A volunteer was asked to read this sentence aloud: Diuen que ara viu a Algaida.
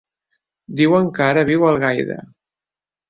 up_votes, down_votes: 2, 0